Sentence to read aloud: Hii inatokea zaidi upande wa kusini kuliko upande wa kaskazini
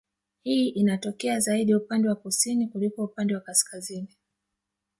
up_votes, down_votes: 0, 2